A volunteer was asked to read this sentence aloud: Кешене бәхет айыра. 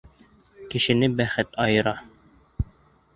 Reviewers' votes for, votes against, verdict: 0, 2, rejected